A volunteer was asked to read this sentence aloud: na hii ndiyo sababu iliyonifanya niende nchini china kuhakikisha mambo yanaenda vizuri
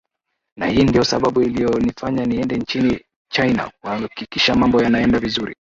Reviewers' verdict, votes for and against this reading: rejected, 1, 2